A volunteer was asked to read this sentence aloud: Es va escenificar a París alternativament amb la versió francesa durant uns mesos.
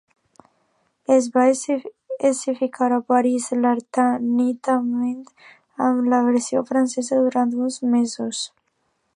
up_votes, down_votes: 0, 2